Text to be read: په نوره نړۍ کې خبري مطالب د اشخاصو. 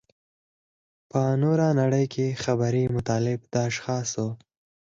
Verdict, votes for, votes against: accepted, 4, 0